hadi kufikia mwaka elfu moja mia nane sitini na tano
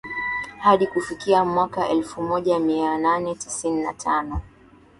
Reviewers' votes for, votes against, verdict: 0, 2, rejected